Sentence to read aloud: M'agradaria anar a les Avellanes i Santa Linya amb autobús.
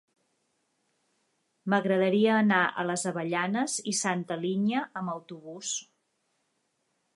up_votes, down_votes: 2, 0